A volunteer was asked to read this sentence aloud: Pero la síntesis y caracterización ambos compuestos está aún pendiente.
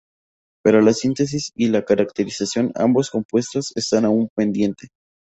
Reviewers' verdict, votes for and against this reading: accepted, 4, 0